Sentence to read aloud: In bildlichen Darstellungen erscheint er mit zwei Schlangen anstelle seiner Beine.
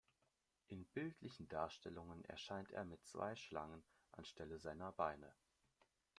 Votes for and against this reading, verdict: 2, 0, accepted